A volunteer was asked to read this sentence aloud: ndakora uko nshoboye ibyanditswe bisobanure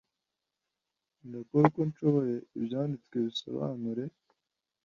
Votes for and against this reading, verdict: 2, 0, accepted